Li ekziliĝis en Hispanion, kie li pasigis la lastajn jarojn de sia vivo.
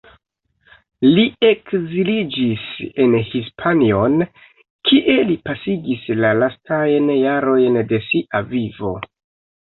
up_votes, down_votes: 1, 2